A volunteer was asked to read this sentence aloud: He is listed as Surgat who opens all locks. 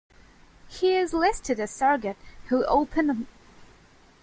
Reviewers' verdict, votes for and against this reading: rejected, 0, 2